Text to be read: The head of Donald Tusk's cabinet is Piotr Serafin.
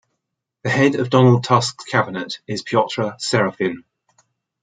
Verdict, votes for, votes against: accepted, 2, 0